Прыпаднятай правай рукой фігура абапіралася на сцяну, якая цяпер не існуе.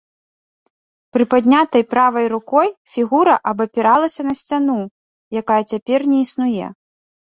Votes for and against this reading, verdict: 2, 0, accepted